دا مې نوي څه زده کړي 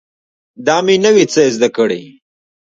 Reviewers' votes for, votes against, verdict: 2, 1, accepted